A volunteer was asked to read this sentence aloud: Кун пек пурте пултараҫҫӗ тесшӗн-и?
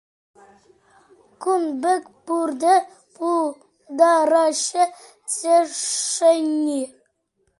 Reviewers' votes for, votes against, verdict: 2, 0, accepted